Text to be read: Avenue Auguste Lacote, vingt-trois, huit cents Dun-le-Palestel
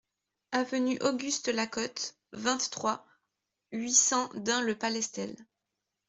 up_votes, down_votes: 2, 0